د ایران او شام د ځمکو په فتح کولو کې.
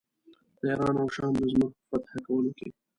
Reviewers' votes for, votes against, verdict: 2, 0, accepted